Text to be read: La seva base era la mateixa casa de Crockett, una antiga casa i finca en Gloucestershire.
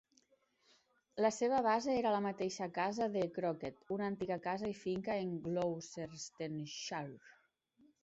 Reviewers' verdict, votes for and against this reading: accepted, 2, 1